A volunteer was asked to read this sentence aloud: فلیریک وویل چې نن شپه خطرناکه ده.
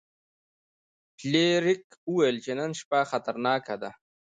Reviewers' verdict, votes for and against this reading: accepted, 2, 0